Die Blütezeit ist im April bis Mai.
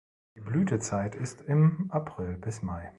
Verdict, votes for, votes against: rejected, 1, 2